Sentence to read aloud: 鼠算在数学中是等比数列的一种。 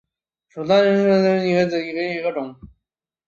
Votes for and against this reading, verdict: 0, 2, rejected